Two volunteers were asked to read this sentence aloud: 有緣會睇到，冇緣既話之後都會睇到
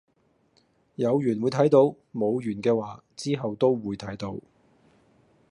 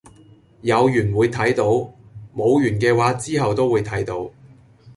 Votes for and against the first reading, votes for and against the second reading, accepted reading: 0, 2, 2, 0, second